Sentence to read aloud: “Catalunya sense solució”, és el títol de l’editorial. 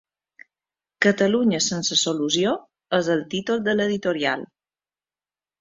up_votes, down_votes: 2, 0